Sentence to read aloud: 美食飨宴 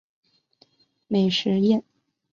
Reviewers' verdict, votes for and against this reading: rejected, 3, 6